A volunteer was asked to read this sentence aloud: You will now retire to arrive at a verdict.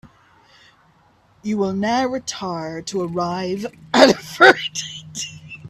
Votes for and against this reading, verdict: 2, 3, rejected